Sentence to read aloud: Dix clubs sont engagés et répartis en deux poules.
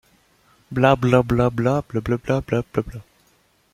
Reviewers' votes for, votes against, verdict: 0, 2, rejected